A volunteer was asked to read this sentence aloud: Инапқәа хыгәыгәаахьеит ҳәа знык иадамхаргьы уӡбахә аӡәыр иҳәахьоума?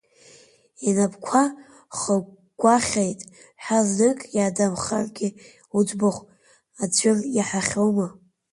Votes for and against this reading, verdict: 0, 2, rejected